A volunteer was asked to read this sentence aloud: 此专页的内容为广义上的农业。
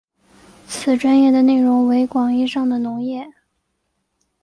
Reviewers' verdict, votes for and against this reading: accepted, 3, 0